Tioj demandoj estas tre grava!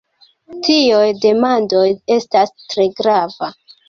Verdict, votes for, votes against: accepted, 2, 0